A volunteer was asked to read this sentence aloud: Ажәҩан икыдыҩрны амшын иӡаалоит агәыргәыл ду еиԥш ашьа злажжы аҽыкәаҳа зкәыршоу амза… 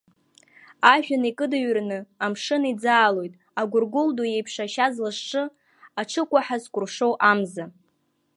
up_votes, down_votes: 2, 0